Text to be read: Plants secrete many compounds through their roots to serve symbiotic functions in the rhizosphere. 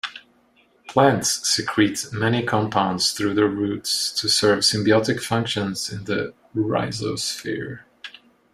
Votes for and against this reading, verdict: 0, 2, rejected